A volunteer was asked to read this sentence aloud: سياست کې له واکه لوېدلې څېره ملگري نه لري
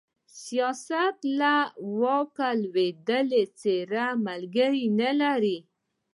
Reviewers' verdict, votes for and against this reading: rejected, 0, 2